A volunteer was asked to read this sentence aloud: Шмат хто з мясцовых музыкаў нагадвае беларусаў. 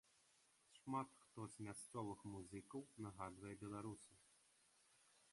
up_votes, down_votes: 2, 0